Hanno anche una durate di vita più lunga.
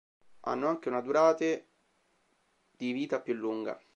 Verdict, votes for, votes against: rejected, 1, 2